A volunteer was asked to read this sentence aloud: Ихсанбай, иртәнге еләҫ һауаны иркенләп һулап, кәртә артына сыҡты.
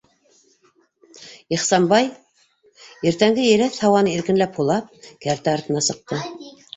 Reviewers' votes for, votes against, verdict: 2, 0, accepted